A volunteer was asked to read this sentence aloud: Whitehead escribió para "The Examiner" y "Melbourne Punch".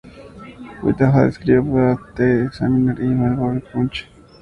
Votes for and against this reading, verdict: 2, 0, accepted